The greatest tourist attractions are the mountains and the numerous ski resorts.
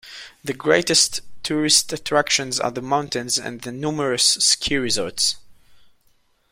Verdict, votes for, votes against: accepted, 2, 0